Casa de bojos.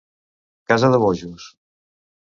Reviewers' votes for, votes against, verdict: 2, 0, accepted